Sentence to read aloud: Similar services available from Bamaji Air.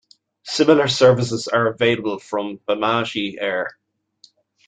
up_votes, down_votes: 1, 2